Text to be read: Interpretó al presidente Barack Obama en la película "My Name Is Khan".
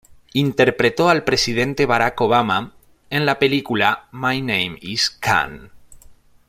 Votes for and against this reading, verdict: 2, 1, accepted